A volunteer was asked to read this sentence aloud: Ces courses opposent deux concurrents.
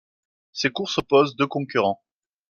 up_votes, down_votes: 2, 0